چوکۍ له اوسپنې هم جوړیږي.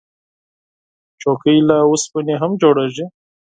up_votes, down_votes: 4, 0